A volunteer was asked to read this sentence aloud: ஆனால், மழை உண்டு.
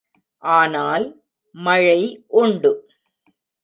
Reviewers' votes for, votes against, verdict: 2, 0, accepted